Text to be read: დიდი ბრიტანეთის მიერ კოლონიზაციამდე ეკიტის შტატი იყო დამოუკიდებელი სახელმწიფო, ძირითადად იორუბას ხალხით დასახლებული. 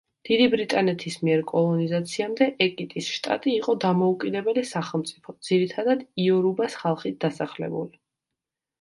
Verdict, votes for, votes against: accepted, 2, 0